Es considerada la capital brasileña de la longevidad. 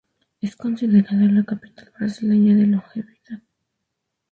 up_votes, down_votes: 0, 6